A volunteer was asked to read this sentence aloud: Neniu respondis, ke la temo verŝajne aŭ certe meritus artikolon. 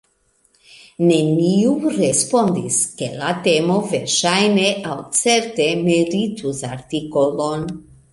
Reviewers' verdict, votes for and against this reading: accepted, 2, 0